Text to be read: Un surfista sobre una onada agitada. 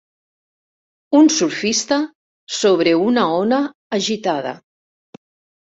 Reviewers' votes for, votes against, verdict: 0, 2, rejected